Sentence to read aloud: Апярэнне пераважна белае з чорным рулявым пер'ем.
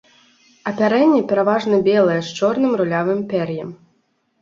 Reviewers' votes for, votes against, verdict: 3, 1, accepted